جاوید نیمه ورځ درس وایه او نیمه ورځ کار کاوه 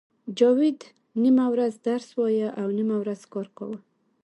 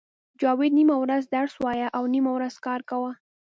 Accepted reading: first